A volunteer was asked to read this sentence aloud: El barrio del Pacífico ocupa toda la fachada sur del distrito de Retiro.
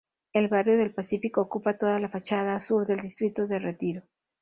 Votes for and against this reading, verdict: 2, 0, accepted